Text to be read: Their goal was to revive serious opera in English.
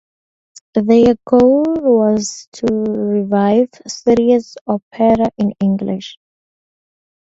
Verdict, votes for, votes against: accepted, 2, 0